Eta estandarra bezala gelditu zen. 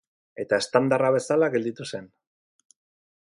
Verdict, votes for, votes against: accepted, 8, 0